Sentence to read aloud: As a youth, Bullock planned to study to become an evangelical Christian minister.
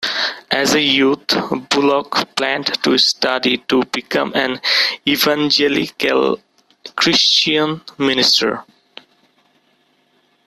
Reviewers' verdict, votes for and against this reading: accepted, 2, 1